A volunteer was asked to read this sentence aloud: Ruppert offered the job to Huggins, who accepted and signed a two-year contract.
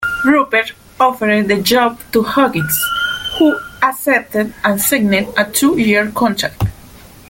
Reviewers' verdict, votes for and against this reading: rejected, 1, 2